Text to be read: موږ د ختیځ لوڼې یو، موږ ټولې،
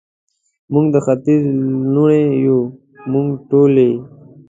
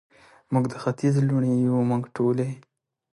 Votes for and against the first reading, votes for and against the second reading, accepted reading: 0, 2, 3, 1, second